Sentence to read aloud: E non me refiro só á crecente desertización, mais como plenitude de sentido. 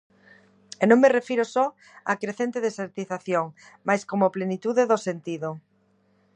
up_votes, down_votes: 0, 2